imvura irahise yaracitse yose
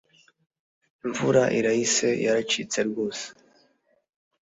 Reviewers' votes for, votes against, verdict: 1, 2, rejected